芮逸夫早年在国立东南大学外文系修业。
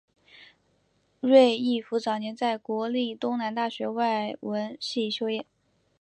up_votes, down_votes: 7, 0